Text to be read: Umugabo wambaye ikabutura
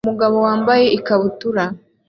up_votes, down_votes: 2, 0